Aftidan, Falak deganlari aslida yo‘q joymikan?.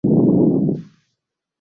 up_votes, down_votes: 0, 2